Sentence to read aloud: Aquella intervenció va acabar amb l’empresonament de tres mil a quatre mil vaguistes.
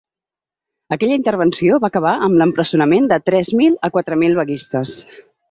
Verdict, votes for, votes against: accepted, 3, 0